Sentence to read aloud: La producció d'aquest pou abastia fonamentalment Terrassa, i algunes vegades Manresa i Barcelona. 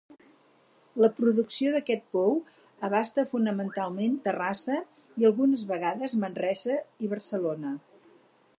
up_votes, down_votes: 2, 4